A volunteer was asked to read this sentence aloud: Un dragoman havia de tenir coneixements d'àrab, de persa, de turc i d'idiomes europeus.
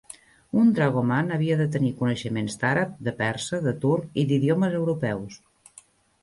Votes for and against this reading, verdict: 1, 2, rejected